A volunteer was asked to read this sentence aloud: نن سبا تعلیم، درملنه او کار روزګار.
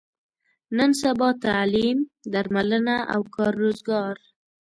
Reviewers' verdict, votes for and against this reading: accepted, 2, 0